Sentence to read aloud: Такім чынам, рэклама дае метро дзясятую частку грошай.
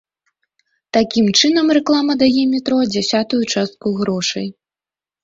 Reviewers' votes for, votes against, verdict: 2, 0, accepted